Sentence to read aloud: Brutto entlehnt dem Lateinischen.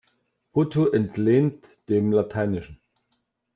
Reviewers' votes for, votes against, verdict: 2, 0, accepted